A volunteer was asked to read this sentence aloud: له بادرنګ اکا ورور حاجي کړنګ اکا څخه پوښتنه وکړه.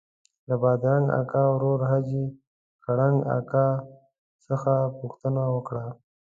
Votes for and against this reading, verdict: 2, 0, accepted